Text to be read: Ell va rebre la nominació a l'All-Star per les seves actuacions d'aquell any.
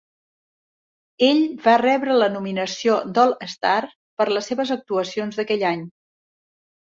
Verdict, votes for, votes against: rejected, 0, 2